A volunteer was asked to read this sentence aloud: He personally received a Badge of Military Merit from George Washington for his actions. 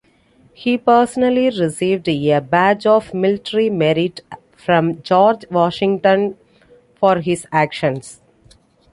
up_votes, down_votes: 1, 2